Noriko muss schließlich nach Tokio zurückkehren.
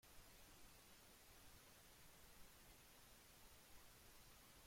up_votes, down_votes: 0, 2